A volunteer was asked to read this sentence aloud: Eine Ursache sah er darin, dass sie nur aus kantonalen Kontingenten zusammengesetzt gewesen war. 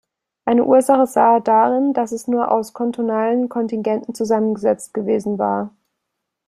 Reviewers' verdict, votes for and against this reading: rejected, 0, 2